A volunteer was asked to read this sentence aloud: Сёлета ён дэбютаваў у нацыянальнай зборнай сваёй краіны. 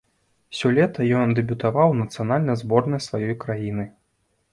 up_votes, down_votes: 1, 2